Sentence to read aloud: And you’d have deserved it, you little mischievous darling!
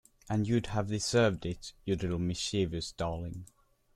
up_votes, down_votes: 2, 1